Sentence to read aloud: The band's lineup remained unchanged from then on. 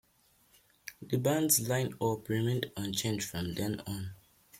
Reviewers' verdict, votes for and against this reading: accepted, 2, 0